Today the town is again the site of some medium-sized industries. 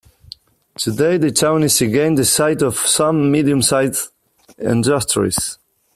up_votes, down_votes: 2, 0